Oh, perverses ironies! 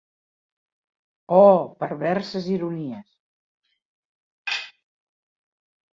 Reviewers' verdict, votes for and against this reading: accepted, 2, 0